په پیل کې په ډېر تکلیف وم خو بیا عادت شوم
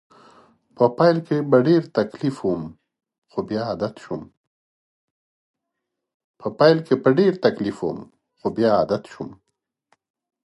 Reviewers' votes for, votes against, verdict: 2, 0, accepted